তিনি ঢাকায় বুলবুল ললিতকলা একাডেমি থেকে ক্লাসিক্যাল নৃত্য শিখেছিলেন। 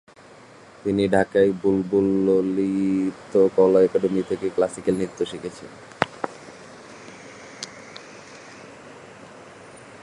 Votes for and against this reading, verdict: 0, 2, rejected